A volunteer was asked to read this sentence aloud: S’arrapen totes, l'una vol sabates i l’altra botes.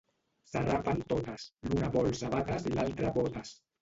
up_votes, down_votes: 0, 2